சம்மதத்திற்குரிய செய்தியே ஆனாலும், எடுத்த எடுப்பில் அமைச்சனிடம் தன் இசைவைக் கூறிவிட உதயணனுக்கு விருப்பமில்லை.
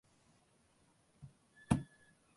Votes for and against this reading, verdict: 0, 2, rejected